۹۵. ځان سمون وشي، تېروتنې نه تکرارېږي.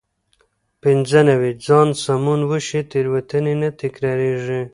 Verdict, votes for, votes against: rejected, 0, 2